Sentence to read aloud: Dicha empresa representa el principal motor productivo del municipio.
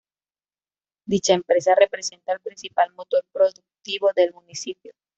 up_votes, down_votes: 1, 2